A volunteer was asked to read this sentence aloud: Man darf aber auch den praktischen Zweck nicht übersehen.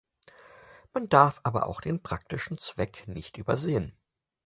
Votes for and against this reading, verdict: 4, 0, accepted